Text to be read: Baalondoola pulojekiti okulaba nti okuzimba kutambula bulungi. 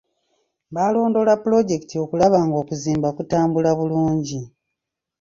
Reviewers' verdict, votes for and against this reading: rejected, 1, 2